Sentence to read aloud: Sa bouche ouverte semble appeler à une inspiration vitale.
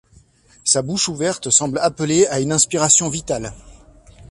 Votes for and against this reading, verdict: 2, 0, accepted